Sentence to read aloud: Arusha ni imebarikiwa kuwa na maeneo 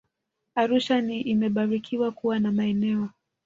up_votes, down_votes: 2, 0